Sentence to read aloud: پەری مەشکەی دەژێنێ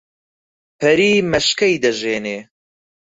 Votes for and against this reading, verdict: 4, 0, accepted